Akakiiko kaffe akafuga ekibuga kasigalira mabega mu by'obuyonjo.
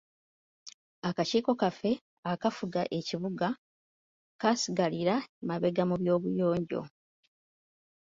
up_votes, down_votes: 2, 1